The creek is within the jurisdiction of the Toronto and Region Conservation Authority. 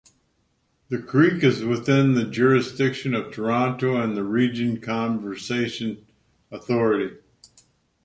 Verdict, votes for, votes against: accepted, 2, 0